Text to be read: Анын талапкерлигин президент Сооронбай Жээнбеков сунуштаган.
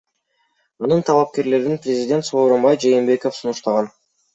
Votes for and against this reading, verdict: 2, 1, accepted